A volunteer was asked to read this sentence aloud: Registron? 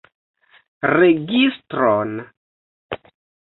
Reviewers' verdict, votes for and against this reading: accepted, 2, 1